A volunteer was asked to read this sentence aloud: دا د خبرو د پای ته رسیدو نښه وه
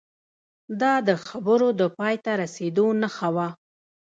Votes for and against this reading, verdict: 1, 2, rejected